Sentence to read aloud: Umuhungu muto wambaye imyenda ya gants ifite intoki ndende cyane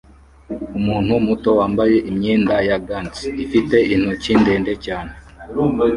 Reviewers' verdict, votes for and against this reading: rejected, 0, 2